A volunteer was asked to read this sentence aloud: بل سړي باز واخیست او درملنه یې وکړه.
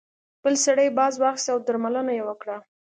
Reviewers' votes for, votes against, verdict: 2, 0, accepted